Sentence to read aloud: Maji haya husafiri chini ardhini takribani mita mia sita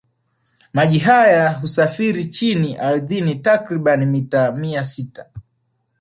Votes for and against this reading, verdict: 1, 2, rejected